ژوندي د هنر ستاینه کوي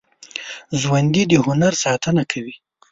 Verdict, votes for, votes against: rejected, 1, 2